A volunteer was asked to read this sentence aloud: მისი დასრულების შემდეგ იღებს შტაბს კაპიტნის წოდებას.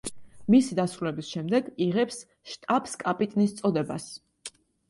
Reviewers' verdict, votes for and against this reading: accepted, 2, 0